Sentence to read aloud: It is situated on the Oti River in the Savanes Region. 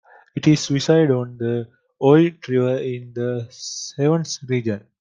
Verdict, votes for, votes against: rejected, 0, 2